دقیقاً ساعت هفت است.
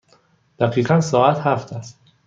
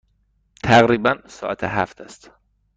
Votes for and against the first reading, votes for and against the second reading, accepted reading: 2, 0, 1, 2, first